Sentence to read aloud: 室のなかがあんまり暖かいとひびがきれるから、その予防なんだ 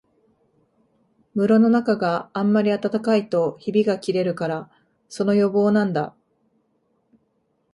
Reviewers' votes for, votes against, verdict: 2, 0, accepted